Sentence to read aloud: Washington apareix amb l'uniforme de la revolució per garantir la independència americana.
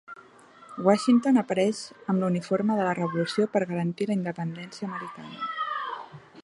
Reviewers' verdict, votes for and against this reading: accepted, 3, 0